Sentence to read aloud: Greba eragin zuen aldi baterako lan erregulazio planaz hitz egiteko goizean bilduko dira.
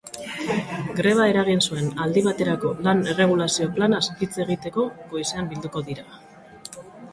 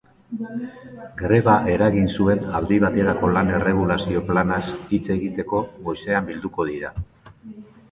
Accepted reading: second